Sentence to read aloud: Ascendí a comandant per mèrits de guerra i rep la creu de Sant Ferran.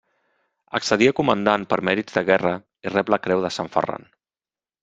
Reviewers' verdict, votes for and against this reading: rejected, 1, 2